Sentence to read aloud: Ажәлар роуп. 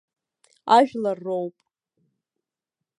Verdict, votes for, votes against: accepted, 2, 0